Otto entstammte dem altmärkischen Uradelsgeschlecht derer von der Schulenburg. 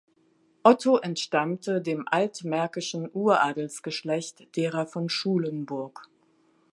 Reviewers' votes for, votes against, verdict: 0, 2, rejected